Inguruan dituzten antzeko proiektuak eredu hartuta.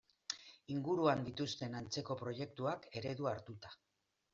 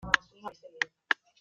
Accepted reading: first